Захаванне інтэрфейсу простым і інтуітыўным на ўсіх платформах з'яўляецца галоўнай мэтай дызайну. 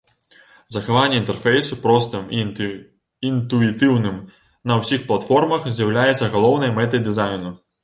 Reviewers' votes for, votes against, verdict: 1, 2, rejected